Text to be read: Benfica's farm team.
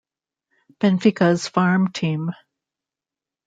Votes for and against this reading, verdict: 2, 0, accepted